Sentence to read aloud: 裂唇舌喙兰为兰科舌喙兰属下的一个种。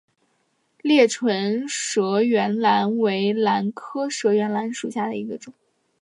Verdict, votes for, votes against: accepted, 8, 1